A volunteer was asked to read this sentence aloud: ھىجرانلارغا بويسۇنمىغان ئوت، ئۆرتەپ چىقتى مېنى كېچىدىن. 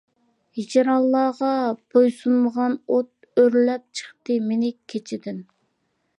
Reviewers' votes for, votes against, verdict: 0, 2, rejected